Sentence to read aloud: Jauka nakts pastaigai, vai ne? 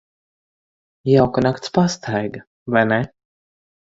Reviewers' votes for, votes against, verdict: 0, 4, rejected